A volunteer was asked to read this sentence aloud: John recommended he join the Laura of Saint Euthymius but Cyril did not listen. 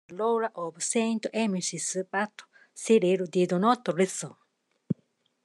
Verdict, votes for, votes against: rejected, 0, 2